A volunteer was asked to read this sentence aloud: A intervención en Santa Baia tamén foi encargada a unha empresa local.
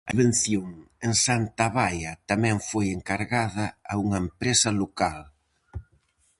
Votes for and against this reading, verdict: 0, 4, rejected